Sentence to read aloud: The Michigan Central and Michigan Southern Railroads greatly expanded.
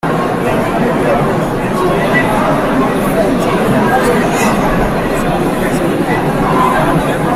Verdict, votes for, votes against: rejected, 0, 2